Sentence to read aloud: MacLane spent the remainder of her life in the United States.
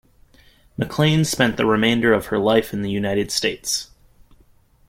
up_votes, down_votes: 2, 0